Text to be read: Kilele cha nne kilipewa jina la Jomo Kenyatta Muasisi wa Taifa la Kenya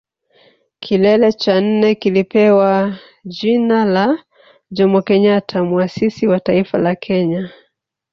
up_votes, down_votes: 1, 2